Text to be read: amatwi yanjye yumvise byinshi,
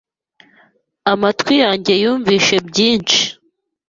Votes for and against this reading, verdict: 2, 0, accepted